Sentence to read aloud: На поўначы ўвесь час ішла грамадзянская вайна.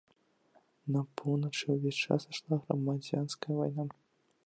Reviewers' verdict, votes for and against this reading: rejected, 1, 2